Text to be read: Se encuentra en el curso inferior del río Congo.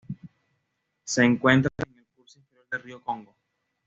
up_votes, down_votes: 2, 1